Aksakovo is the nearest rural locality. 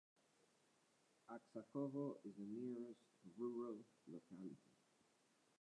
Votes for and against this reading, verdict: 0, 2, rejected